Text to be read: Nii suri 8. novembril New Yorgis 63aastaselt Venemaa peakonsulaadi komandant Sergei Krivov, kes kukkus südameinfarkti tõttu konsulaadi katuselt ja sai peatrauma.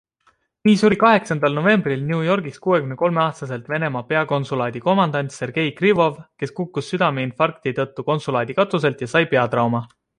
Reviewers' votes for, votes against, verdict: 0, 2, rejected